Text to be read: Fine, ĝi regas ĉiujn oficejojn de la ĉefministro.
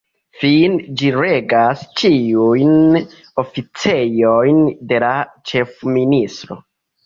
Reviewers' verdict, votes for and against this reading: rejected, 0, 2